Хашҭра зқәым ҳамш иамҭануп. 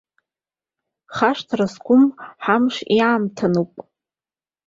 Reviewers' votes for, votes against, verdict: 2, 0, accepted